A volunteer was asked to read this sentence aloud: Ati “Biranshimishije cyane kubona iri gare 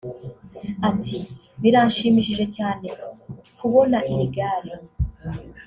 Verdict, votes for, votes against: rejected, 0, 2